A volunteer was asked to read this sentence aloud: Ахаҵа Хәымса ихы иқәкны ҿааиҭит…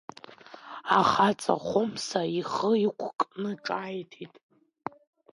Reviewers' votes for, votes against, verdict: 2, 1, accepted